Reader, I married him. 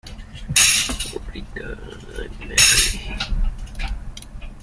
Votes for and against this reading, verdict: 0, 2, rejected